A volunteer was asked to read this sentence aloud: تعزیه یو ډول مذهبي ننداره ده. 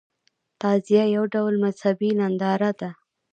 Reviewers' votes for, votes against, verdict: 1, 2, rejected